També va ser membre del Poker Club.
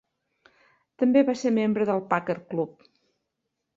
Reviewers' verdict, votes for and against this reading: rejected, 0, 2